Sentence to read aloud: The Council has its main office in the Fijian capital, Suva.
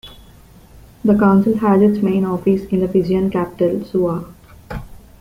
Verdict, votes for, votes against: accepted, 2, 0